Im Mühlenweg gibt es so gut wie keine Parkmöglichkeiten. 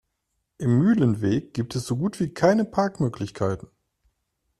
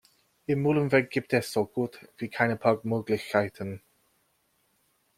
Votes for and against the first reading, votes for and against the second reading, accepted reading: 2, 0, 0, 2, first